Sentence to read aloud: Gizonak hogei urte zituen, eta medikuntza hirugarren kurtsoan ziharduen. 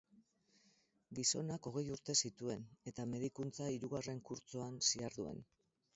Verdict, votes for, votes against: accepted, 6, 2